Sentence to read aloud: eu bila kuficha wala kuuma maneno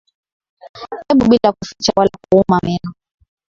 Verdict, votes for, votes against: accepted, 5, 4